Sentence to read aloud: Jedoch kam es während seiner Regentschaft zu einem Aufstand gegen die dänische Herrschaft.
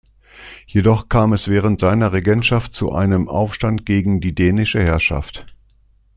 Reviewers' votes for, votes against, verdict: 2, 0, accepted